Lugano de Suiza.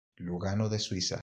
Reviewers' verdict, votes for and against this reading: accepted, 2, 0